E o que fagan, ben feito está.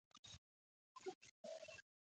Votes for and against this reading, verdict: 0, 2, rejected